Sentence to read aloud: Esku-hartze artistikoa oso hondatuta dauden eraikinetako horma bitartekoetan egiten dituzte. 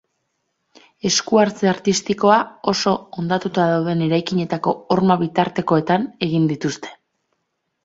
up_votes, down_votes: 2, 0